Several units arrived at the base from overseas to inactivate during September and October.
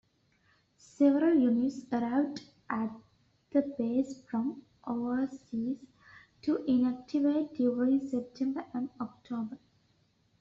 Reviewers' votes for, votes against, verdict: 2, 0, accepted